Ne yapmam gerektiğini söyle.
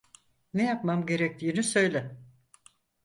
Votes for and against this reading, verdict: 4, 0, accepted